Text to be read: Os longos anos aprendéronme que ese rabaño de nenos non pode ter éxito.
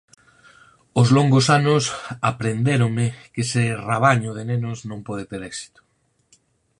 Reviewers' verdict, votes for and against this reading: accepted, 4, 0